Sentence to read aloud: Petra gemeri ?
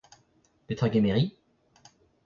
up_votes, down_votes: 0, 2